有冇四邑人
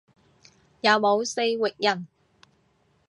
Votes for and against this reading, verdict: 0, 2, rejected